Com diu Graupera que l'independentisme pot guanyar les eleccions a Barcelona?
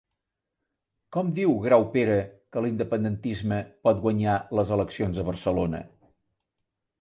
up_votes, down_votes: 2, 0